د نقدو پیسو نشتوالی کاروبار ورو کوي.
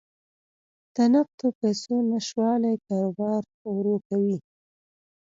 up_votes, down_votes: 2, 0